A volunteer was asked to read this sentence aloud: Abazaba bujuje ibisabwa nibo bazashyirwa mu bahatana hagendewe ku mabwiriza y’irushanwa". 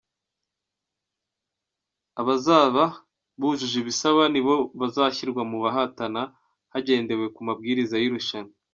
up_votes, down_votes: 0, 2